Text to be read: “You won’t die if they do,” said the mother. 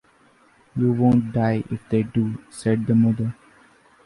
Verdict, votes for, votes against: accepted, 2, 1